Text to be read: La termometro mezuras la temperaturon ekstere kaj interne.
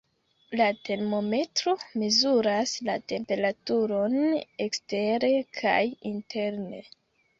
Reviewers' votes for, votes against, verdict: 2, 1, accepted